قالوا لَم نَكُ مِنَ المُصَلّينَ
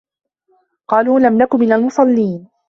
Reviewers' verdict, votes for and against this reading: accepted, 2, 0